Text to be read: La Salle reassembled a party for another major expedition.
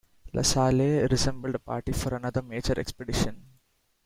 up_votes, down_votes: 0, 2